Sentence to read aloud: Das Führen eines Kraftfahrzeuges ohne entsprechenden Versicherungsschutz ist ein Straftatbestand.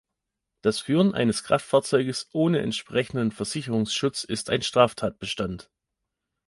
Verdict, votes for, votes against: accepted, 2, 0